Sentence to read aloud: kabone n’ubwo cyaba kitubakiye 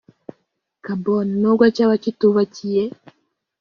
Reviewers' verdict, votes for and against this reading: rejected, 1, 2